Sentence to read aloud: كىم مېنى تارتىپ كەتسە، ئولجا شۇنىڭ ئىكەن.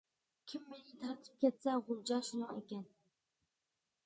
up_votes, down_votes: 0, 2